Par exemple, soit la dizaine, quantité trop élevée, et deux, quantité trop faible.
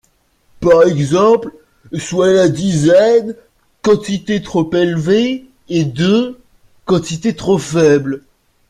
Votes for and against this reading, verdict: 1, 2, rejected